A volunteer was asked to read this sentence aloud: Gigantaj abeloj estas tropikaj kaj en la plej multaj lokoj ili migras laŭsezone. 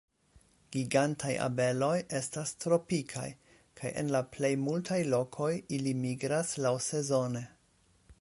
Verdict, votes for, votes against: accepted, 2, 1